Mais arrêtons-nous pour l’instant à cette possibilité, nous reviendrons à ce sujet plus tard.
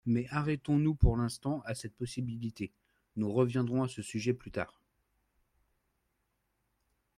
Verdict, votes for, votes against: accepted, 2, 0